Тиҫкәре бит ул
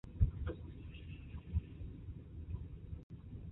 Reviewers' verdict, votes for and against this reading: rejected, 0, 2